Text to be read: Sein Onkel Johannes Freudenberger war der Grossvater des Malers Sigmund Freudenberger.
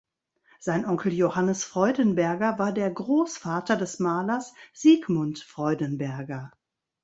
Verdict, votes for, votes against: accepted, 2, 0